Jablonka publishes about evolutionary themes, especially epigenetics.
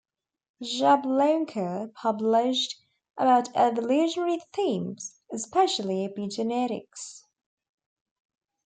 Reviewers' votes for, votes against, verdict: 1, 2, rejected